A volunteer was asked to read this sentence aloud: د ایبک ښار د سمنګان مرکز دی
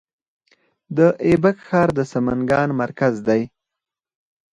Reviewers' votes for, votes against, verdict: 2, 4, rejected